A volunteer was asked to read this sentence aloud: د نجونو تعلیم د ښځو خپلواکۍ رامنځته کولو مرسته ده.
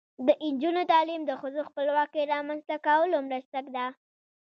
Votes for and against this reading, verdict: 0, 2, rejected